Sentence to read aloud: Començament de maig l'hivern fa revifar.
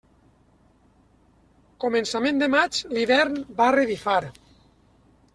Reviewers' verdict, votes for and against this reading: rejected, 0, 2